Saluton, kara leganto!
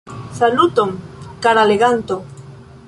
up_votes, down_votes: 2, 1